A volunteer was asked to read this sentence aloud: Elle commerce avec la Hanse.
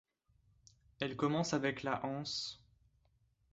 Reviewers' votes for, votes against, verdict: 1, 2, rejected